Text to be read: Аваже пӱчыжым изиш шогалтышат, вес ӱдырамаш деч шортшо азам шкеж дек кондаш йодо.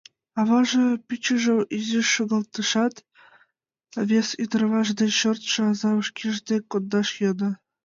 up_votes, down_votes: 2, 0